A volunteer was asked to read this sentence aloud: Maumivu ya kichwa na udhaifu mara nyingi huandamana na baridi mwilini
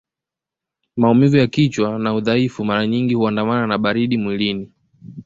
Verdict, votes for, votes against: accepted, 2, 0